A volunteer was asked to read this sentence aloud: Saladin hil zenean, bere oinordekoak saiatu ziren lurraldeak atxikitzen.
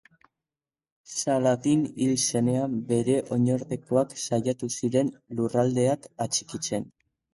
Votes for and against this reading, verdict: 4, 0, accepted